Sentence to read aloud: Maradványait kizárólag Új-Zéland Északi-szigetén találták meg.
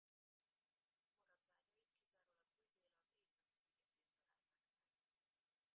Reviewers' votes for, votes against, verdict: 0, 2, rejected